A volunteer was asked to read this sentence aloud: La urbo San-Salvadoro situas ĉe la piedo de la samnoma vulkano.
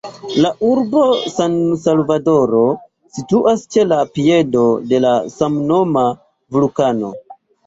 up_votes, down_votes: 2, 1